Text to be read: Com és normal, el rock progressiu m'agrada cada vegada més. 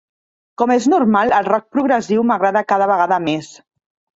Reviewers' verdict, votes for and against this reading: accepted, 2, 0